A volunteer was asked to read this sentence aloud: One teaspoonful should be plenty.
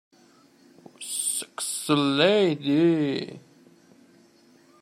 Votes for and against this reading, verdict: 0, 2, rejected